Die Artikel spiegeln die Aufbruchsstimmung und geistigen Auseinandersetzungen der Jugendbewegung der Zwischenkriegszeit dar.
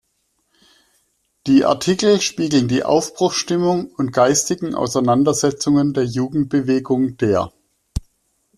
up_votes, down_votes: 0, 2